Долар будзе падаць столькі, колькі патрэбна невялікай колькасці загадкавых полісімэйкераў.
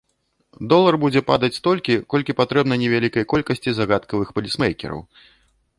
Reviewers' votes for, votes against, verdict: 0, 2, rejected